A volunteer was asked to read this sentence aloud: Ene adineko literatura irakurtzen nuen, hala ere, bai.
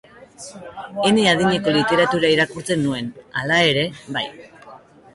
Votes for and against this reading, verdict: 4, 0, accepted